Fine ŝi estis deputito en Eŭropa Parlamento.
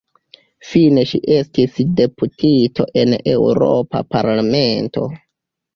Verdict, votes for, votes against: accepted, 3, 2